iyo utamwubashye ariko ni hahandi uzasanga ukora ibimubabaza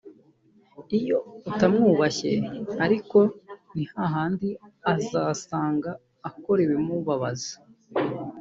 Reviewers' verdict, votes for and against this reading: rejected, 0, 2